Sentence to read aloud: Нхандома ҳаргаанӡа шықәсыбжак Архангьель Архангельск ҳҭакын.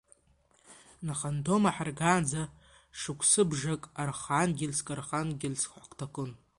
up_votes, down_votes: 0, 2